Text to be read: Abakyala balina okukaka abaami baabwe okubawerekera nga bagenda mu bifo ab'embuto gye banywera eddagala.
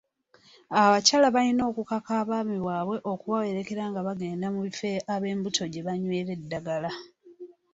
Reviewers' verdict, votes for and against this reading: accepted, 3, 0